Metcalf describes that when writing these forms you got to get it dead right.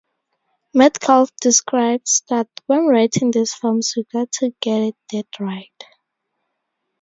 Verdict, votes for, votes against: rejected, 2, 2